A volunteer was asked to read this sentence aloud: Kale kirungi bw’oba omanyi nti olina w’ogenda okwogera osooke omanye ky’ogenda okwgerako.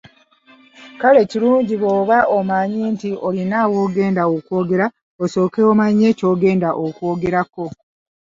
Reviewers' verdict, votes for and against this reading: rejected, 0, 2